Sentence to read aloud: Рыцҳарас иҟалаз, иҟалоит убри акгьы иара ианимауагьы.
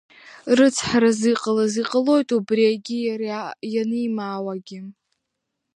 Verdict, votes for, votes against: rejected, 1, 2